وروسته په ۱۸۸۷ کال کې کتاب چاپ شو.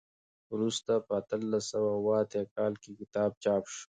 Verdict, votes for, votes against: rejected, 0, 2